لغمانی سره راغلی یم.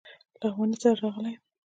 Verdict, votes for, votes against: accepted, 2, 0